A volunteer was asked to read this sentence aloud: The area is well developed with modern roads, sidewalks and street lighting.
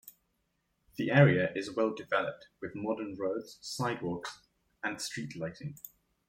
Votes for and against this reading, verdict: 2, 1, accepted